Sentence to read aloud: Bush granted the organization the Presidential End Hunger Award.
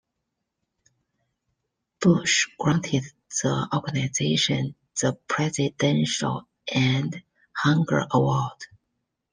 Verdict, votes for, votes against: rejected, 0, 2